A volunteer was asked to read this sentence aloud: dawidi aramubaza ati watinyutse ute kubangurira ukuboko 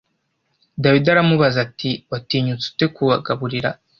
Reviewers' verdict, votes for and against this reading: rejected, 1, 2